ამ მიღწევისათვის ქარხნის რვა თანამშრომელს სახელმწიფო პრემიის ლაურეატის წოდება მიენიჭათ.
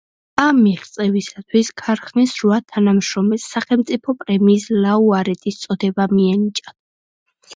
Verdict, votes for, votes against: rejected, 1, 2